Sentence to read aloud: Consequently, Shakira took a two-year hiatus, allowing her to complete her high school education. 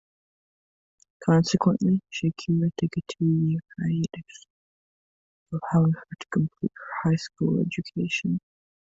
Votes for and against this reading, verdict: 1, 2, rejected